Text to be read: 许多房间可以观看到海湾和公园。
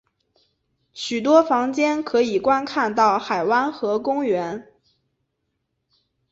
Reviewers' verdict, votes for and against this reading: accepted, 2, 0